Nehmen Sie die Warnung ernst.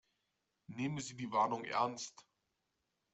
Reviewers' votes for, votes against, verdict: 2, 0, accepted